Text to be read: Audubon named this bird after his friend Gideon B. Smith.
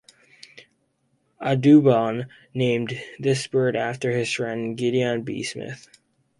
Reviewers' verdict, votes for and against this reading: accepted, 4, 2